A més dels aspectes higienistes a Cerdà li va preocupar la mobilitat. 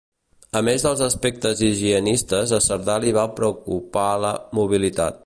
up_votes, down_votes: 2, 0